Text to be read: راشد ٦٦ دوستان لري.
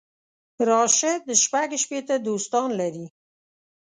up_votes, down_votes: 0, 2